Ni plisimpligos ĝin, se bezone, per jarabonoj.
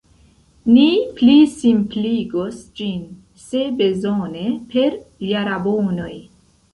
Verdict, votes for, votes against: rejected, 1, 2